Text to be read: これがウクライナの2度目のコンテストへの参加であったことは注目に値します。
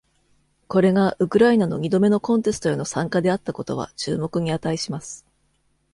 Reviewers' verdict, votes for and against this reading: rejected, 0, 2